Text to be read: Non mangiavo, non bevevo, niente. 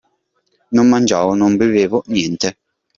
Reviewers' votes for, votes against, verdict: 2, 0, accepted